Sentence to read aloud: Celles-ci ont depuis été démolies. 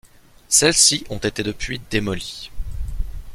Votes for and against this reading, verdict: 0, 2, rejected